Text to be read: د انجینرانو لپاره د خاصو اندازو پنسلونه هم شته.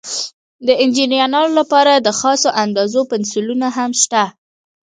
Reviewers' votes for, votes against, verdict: 1, 2, rejected